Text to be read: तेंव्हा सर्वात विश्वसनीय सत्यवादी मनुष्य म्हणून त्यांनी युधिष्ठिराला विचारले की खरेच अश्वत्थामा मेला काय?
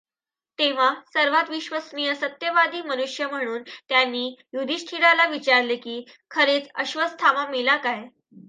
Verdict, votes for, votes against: rejected, 1, 2